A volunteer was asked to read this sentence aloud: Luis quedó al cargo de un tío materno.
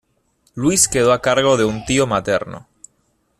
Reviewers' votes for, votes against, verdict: 2, 1, accepted